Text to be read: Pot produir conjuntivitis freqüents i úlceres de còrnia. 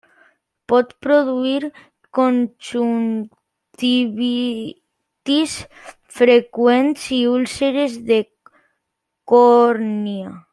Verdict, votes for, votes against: rejected, 0, 2